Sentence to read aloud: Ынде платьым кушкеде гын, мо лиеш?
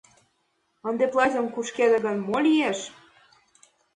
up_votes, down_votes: 2, 0